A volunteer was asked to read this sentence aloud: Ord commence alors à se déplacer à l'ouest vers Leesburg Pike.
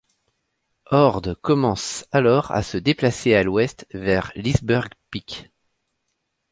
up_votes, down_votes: 2, 0